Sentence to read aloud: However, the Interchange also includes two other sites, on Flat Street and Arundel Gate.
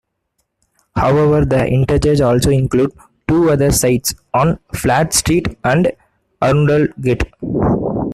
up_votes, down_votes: 0, 2